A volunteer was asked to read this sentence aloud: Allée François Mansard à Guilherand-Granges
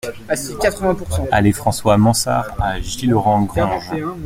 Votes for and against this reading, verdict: 0, 2, rejected